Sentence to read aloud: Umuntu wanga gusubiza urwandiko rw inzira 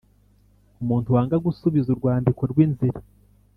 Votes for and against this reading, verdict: 2, 0, accepted